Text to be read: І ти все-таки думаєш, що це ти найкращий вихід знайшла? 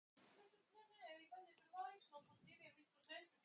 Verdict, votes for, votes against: rejected, 0, 2